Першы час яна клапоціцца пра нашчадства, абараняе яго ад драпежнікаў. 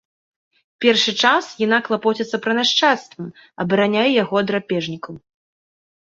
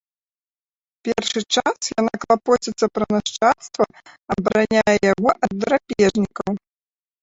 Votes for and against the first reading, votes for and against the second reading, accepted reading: 2, 0, 1, 2, first